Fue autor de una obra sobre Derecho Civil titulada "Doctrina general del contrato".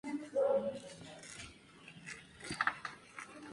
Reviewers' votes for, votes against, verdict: 0, 2, rejected